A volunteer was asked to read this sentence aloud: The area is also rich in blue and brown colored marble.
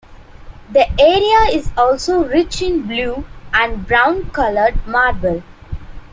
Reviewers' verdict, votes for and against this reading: accepted, 2, 0